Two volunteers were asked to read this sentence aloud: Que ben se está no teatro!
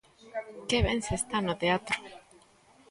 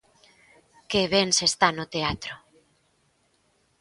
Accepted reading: second